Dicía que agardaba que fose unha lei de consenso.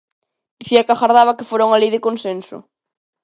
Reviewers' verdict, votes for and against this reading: rejected, 0, 2